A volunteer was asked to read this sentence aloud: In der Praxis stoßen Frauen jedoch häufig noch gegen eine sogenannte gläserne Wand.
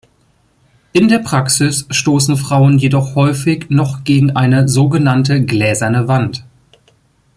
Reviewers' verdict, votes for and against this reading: accepted, 2, 0